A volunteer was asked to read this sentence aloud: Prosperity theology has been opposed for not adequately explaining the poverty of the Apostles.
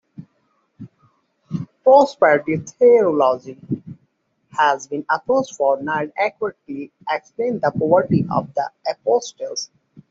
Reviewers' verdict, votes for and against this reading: rejected, 1, 2